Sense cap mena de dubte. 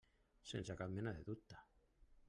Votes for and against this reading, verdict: 3, 0, accepted